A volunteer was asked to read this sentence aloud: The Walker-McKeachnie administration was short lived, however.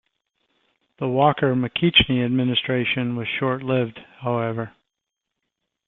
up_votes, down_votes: 2, 0